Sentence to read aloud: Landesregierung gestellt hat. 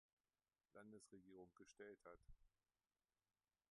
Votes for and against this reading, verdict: 1, 2, rejected